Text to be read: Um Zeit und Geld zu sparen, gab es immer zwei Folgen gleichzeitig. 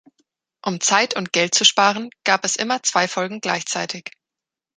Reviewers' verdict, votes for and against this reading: accepted, 3, 0